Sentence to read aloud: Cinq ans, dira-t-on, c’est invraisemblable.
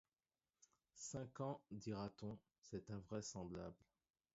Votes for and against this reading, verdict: 2, 0, accepted